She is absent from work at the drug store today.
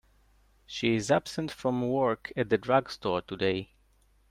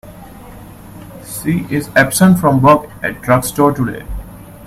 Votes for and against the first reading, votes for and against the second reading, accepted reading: 2, 0, 1, 2, first